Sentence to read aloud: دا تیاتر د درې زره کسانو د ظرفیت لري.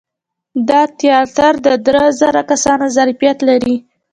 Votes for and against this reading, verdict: 1, 2, rejected